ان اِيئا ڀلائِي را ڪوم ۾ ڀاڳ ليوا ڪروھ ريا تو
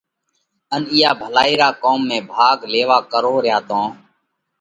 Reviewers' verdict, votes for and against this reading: accepted, 2, 0